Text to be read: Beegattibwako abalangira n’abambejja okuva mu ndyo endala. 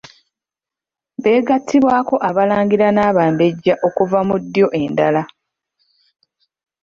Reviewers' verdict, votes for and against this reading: rejected, 1, 2